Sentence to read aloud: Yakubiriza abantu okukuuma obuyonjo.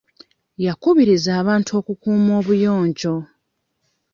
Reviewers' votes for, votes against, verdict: 2, 0, accepted